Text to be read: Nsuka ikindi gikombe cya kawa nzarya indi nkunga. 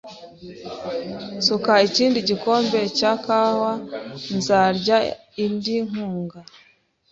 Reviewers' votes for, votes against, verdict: 2, 0, accepted